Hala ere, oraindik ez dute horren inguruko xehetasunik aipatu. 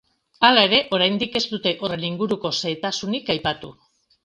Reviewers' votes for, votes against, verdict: 2, 0, accepted